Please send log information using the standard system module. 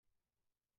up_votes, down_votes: 0, 2